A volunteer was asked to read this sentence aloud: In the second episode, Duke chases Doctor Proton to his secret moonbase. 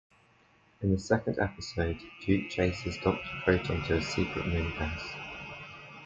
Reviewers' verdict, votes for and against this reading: accepted, 2, 0